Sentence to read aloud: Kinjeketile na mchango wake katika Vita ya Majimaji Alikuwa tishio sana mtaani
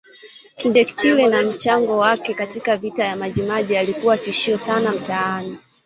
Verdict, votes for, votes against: rejected, 1, 2